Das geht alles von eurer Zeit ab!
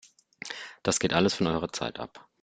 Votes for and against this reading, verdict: 2, 0, accepted